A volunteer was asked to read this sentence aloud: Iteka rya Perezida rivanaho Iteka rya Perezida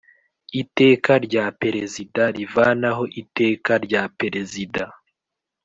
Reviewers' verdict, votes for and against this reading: rejected, 1, 2